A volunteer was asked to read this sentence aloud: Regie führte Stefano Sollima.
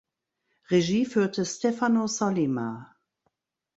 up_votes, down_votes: 2, 0